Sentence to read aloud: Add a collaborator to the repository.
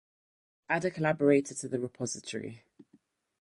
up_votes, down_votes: 4, 0